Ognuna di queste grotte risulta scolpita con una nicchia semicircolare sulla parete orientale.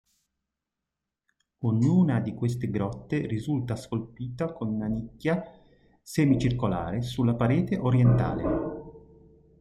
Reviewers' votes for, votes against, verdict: 2, 0, accepted